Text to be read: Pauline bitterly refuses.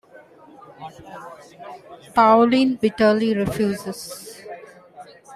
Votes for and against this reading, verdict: 1, 2, rejected